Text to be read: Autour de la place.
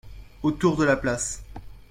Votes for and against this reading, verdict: 2, 0, accepted